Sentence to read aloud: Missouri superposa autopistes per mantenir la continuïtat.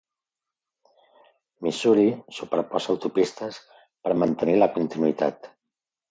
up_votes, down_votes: 2, 0